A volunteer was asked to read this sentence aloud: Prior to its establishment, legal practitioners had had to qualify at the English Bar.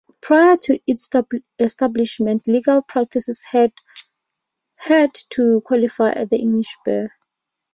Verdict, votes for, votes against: rejected, 0, 2